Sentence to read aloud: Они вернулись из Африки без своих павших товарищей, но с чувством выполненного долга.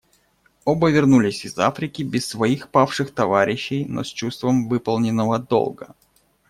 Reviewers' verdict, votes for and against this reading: rejected, 0, 2